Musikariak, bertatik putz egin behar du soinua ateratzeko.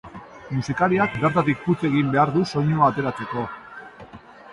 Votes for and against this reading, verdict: 1, 2, rejected